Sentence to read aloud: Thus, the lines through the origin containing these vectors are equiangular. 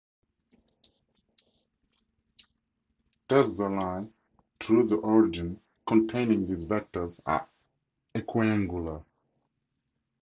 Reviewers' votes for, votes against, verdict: 0, 2, rejected